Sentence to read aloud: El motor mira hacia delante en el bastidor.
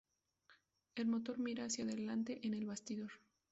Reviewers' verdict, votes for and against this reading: accepted, 2, 0